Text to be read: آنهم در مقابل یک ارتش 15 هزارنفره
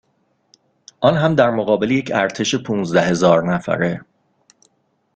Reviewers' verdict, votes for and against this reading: rejected, 0, 2